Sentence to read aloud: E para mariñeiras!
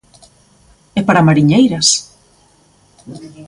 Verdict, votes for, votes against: accepted, 2, 0